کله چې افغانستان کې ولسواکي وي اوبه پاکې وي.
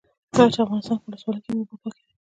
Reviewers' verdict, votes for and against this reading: rejected, 1, 2